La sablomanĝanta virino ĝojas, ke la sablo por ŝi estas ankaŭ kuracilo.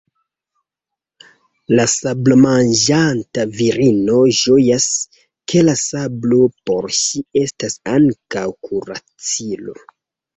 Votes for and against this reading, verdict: 1, 2, rejected